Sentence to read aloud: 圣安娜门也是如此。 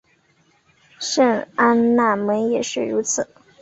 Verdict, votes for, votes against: accepted, 6, 0